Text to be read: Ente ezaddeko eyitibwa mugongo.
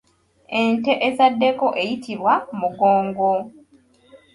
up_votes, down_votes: 2, 0